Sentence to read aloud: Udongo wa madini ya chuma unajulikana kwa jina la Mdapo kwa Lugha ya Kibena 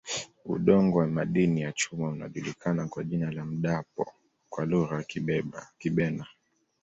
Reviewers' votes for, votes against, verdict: 2, 1, accepted